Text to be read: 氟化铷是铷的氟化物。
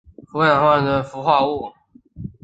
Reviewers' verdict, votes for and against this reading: rejected, 1, 2